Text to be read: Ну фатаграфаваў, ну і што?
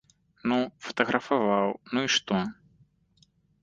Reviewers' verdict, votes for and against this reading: accepted, 2, 0